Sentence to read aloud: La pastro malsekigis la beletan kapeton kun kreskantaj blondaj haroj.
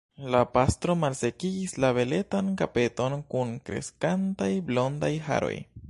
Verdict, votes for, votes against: rejected, 0, 2